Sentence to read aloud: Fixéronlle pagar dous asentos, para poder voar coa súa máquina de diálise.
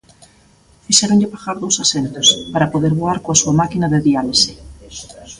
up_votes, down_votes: 1, 2